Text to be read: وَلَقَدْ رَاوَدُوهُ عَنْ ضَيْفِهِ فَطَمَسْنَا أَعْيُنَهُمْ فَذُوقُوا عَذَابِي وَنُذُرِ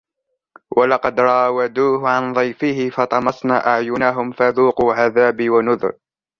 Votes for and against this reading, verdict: 2, 0, accepted